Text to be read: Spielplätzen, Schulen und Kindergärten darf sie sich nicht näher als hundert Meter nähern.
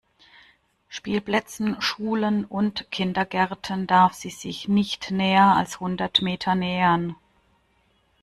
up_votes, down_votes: 2, 0